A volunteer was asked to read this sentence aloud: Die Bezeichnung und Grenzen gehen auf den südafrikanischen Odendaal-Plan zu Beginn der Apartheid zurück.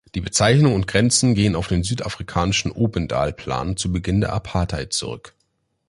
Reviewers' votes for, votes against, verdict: 0, 2, rejected